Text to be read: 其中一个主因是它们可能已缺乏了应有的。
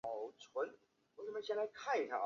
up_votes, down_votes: 0, 4